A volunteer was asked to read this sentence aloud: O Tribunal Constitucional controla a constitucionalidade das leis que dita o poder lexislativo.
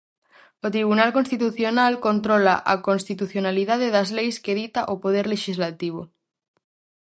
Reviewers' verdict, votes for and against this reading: accepted, 2, 0